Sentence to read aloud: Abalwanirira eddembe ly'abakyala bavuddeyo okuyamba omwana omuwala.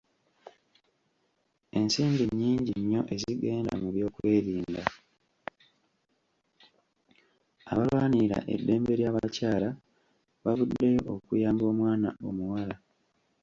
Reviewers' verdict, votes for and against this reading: rejected, 1, 2